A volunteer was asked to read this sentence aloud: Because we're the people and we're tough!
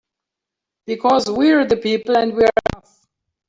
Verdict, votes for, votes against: rejected, 0, 3